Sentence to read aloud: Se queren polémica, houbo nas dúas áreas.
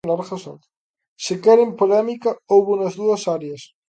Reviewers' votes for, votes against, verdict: 1, 2, rejected